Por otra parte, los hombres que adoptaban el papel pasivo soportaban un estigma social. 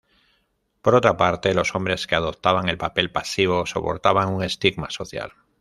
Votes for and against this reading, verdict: 1, 2, rejected